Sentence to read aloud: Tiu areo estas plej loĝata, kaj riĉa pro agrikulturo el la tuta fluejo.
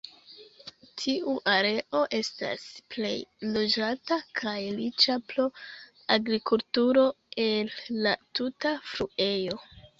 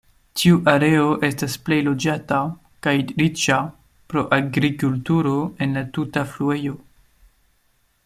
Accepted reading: first